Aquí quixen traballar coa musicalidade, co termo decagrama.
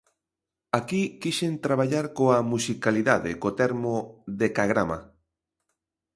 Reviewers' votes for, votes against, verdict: 2, 0, accepted